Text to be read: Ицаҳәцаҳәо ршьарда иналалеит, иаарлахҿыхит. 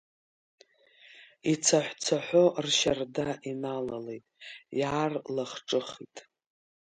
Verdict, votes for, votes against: rejected, 1, 2